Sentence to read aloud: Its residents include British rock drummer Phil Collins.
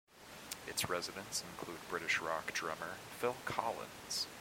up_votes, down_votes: 0, 2